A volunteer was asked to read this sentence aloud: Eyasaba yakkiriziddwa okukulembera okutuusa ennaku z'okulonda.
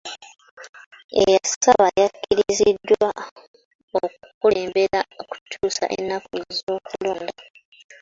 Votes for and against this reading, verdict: 2, 1, accepted